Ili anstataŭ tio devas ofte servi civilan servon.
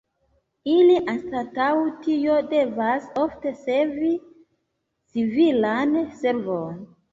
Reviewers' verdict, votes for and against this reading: rejected, 1, 2